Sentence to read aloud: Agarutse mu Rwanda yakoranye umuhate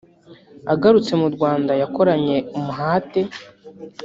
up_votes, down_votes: 0, 2